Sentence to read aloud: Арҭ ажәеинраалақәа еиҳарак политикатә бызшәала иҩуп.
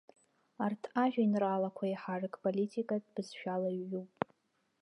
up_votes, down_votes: 1, 2